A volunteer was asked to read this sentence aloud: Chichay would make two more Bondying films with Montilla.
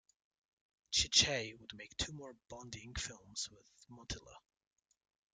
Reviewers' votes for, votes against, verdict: 1, 2, rejected